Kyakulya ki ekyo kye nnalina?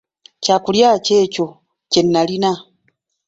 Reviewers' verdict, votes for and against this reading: rejected, 1, 2